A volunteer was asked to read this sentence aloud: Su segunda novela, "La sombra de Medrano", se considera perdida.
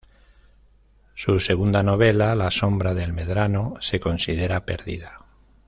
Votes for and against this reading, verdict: 1, 2, rejected